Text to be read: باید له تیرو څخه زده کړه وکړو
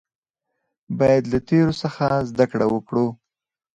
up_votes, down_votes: 4, 0